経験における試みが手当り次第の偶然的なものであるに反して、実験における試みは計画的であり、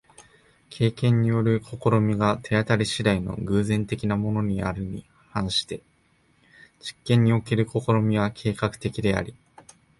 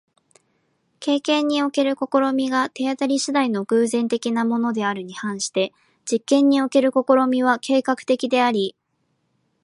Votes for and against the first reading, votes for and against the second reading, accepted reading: 1, 2, 2, 0, second